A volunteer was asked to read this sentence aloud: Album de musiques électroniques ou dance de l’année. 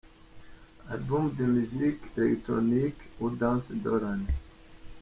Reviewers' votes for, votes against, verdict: 2, 0, accepted